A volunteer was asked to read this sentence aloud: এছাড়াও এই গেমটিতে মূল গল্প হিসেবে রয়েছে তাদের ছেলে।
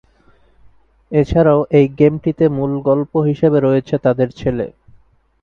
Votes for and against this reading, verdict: 2, 0, accepted